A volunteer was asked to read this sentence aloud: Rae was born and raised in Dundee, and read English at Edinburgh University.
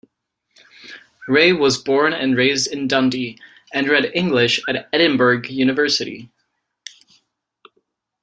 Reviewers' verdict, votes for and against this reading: rejected, 1, 2